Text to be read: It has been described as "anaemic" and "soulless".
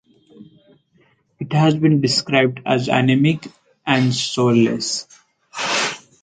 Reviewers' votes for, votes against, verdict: 4, 0, accepted